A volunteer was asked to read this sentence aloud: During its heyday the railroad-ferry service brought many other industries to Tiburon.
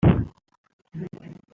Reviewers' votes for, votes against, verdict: 0, 2, rejected